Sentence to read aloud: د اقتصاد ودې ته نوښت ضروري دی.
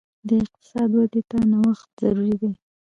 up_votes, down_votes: 2, 0